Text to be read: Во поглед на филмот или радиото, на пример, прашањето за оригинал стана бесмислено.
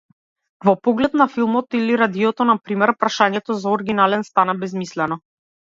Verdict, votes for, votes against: rejected, 0, 2